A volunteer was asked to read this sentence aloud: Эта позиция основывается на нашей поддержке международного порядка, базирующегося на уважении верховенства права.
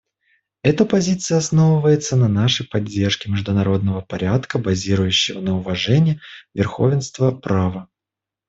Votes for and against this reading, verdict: 0, 2, rejected